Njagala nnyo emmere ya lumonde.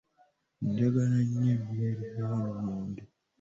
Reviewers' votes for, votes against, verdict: 2, 1, accepted